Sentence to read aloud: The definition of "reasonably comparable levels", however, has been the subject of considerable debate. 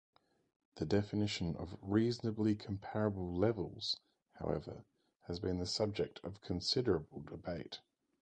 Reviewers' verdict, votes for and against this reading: rejected, 2, 2